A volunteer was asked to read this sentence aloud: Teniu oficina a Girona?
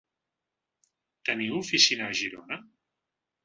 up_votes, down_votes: 3, 0